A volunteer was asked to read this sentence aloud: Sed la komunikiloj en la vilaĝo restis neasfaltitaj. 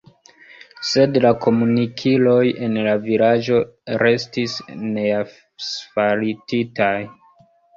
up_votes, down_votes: 0, 2